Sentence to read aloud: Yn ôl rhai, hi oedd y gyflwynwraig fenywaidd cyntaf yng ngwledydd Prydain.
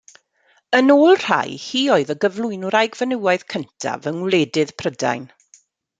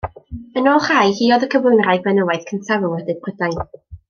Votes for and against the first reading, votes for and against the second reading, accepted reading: 2, 0, 1, 2, first